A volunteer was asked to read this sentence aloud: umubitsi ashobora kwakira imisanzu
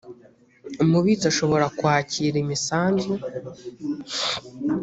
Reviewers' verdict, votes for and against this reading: accepted, 2, 0